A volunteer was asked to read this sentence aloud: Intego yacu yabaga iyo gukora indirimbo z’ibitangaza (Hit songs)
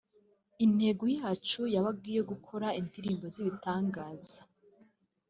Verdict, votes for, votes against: rejected, 0, 2